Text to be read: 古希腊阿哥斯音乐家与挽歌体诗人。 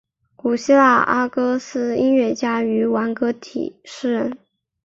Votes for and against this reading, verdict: 3, 0, accepted